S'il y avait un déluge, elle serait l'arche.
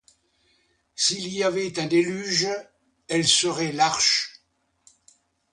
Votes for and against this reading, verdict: 2, 0, accepted